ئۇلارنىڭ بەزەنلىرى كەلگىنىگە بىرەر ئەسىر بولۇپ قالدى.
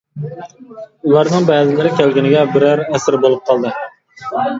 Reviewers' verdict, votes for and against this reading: rejected, 0, 2